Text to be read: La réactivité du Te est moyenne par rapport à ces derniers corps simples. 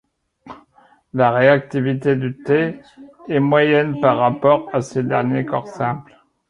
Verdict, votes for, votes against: rejected, 0, 2